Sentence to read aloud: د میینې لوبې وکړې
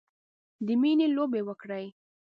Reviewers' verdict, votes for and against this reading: rejected, 1, 2